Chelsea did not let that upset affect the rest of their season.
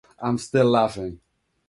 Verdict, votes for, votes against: rejected, 0, 2